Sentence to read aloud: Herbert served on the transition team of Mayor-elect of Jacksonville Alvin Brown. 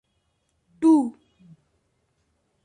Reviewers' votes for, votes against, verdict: 0, 2, rejected